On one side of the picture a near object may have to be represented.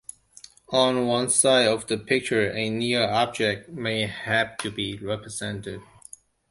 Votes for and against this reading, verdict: 2, 1, accepted